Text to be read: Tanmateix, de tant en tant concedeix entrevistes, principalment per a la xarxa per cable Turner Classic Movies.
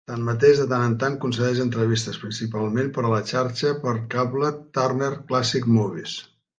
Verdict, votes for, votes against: accepted, 2, 0